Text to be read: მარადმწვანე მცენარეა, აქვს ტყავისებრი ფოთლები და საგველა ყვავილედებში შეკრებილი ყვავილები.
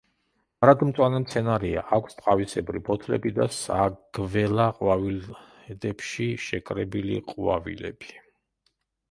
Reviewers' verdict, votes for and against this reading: rejected, 1, 2